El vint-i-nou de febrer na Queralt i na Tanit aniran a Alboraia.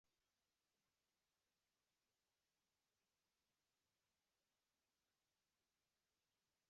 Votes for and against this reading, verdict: 0, 2, rejected